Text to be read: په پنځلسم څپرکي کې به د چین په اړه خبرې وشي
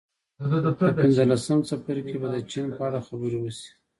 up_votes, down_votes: 1, 2